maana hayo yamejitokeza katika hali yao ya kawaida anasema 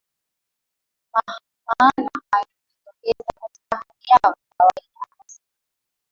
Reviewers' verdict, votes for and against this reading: rejected, 0, 2